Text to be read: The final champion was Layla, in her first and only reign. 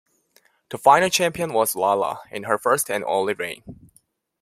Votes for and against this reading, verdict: 0, 2, rejected